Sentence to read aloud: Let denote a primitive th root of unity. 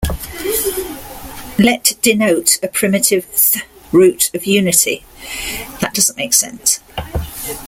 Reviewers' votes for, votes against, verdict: 0, 3, rejected